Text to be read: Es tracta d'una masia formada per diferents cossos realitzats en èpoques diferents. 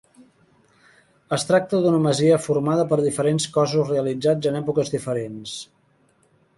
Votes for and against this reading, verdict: 0, 2, rejected